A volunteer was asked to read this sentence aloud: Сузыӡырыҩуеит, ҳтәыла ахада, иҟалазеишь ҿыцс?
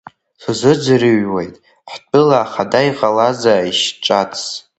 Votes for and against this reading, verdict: 0, 3, rejected